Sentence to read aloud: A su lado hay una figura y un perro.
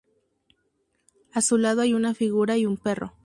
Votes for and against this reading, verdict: 4, 0, accepted